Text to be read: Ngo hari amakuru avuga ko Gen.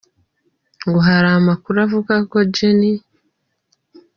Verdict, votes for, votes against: rejected, 1, 2